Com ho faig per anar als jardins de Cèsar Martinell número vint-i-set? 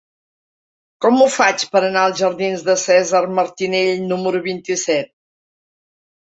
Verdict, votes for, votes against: accepted, 3, 0